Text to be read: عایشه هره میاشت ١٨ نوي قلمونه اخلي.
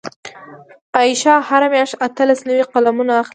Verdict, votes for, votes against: rejected, 0, 2